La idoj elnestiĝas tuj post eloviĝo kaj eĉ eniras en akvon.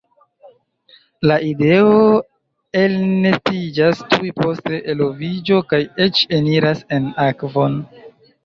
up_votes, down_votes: 1, 2